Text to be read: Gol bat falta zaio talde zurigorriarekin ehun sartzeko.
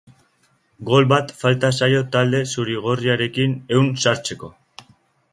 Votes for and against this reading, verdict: 4, 0, accepted